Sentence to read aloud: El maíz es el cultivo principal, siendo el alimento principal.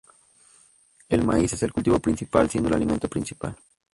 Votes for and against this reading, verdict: 0, 2, rejected